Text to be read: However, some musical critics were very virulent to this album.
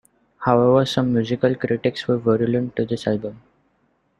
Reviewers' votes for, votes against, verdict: 0, 2, rejected